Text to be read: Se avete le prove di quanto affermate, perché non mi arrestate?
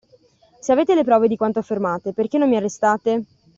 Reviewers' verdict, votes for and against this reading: accepted, 2, 0